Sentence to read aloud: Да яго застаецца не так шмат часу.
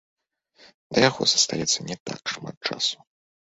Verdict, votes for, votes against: accepted, 2, 0